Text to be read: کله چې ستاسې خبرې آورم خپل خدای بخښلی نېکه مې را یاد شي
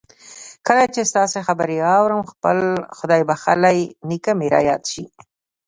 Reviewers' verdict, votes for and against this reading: accepted, 2, 1